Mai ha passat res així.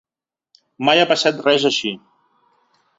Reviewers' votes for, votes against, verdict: 3, 0, accepted